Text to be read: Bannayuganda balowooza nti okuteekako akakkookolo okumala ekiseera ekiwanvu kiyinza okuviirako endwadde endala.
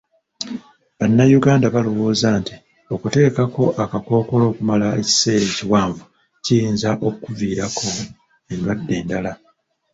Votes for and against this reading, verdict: 0, 2, rejected